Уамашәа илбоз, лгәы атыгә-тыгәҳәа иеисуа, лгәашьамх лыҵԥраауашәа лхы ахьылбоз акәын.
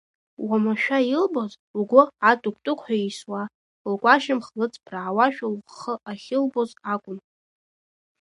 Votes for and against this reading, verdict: 1, 2, rejected